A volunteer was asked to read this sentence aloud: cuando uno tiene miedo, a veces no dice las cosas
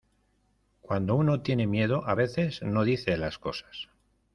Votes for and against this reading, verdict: 2, 0, accepted